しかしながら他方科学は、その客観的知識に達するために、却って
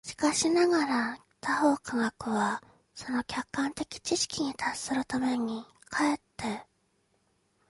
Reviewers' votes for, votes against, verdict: 2, 0, accepted